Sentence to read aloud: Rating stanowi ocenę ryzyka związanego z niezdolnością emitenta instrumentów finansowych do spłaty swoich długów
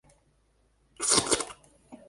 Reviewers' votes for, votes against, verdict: 0, 2, rejected